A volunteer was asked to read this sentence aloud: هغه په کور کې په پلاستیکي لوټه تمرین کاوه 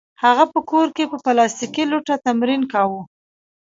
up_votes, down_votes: 2, 0